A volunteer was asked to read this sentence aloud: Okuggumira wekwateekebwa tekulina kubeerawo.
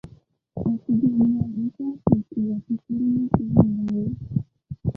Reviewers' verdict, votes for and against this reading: rejected, 0, 2